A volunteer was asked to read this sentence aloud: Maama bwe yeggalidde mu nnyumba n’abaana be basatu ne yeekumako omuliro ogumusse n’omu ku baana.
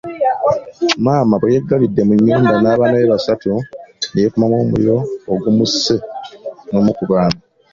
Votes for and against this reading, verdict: 1, 2, rejected